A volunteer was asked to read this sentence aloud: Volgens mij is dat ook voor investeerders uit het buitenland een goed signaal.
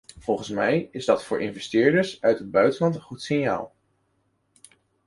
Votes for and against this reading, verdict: 1, 2, rejected